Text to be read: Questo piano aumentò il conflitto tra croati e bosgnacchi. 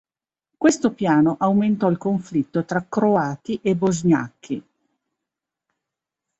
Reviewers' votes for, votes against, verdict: 2, 0, accepted